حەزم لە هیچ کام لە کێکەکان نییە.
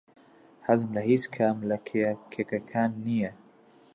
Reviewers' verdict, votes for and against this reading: rejected, 0, 2